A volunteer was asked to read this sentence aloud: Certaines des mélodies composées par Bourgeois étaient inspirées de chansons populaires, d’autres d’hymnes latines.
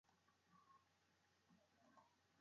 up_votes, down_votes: 0, 2